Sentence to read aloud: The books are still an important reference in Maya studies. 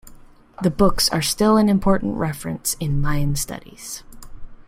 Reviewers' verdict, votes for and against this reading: rejected, 1, 2